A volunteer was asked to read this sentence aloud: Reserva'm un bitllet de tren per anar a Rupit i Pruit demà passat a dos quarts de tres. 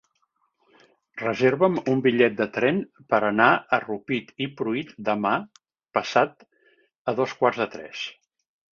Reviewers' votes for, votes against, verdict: 4, 0, accepted